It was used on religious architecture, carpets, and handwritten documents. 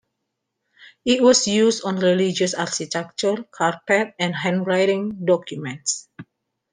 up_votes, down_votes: 0, 2